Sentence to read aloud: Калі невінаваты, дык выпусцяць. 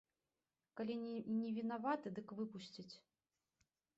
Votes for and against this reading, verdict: 1, 2, rejected